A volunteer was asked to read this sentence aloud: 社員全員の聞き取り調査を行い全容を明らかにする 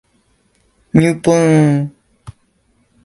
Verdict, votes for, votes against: rejected, 0, 2